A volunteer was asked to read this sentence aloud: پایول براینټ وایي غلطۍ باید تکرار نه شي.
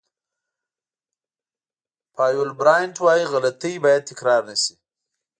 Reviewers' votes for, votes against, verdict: 1, 2, rejected